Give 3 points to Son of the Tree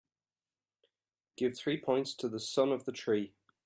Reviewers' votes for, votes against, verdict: 0, 2, rejected